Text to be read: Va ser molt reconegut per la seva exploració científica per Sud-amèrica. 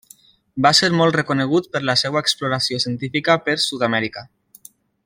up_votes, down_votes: 2, 0